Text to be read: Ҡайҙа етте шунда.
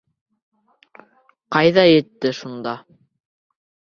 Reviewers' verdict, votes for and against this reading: rejected, 1, 2